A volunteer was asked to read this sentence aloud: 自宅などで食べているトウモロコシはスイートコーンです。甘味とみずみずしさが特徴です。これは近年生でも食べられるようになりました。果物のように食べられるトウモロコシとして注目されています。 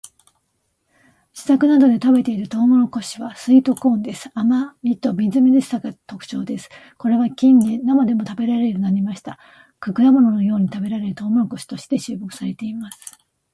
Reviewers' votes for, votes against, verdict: 2, 1, accepted